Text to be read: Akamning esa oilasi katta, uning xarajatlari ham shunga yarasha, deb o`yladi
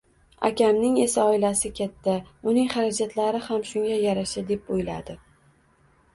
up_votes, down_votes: 1, 2